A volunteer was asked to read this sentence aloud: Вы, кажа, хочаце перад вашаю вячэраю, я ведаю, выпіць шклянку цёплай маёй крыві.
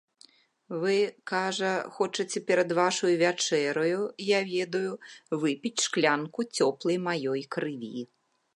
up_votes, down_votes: 2, 0